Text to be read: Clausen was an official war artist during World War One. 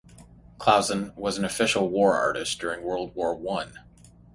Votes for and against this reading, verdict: 3, 0, accepted